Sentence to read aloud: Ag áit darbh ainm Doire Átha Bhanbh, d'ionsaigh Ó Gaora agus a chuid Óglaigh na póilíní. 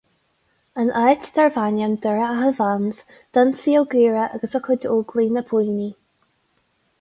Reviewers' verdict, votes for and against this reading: rejected, 0, 2